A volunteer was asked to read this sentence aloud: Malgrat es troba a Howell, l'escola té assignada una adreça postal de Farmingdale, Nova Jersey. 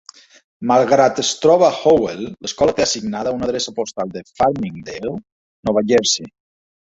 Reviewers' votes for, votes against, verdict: 2, 0, accepted